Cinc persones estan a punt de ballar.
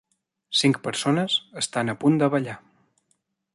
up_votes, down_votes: 3, 0